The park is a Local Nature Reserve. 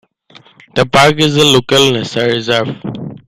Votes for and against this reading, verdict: 1, 2, rejected